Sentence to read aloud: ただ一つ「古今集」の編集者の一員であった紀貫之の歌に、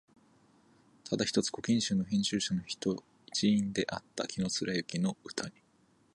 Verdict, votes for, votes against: rejected, 1, 2